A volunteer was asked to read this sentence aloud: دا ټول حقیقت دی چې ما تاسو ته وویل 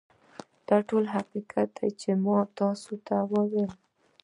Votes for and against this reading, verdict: 1, 2, rejected